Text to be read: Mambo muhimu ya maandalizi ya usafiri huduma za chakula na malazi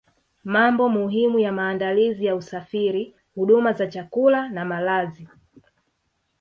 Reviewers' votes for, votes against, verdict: 3, 0, accepted